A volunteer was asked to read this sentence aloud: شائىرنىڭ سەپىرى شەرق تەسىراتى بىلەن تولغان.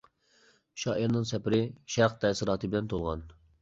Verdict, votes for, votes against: accepted, 2, 0